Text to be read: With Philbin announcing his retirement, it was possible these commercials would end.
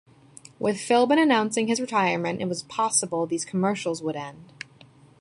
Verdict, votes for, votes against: accepted, 2, 0